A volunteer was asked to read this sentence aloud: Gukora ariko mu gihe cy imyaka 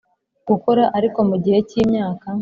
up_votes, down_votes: 3, 0